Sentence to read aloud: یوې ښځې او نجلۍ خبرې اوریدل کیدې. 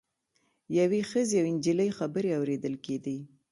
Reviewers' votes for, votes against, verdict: 2, 0, accepted